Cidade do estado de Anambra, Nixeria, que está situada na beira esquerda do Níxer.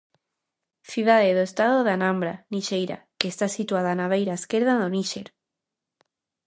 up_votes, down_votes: 0, 2